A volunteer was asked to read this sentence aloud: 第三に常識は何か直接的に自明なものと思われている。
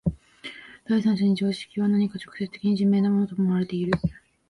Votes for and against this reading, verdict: 1, 6, rejected